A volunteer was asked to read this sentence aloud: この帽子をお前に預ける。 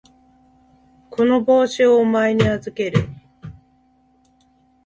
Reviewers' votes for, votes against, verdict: 2, 0, accepted